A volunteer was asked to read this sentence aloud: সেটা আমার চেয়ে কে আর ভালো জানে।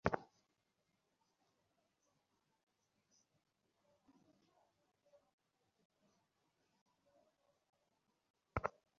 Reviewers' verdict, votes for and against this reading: rejected, 0, 2